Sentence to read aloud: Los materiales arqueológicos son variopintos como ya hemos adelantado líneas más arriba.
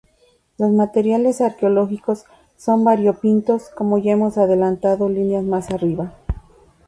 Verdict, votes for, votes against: accepted, 2, 0